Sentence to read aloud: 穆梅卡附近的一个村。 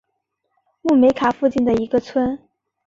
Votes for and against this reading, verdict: 2, 0, accepted